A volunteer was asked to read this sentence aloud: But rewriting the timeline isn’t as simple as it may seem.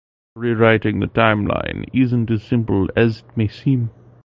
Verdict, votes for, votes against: rejected, 0, 2